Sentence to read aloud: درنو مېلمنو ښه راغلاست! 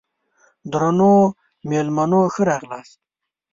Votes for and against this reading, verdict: 2, 0, accepted